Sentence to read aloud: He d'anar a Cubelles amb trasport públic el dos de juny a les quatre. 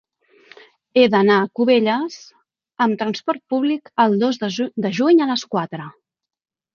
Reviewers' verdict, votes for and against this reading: rejected, 0, 3